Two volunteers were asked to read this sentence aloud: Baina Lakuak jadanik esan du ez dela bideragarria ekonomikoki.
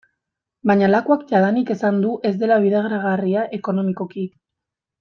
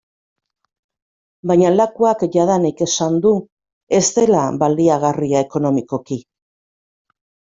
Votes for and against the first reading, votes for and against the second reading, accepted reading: 2, 0, 0, 2, first